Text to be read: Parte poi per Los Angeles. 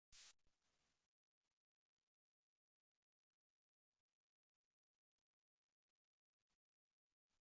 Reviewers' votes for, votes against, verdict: 0, 2, rejected